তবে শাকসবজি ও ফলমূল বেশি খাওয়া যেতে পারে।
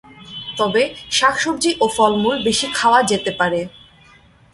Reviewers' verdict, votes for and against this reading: accepted, 2, 0